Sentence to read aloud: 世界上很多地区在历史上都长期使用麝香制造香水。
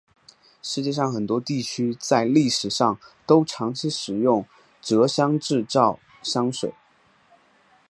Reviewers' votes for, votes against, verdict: 2, 2, rejected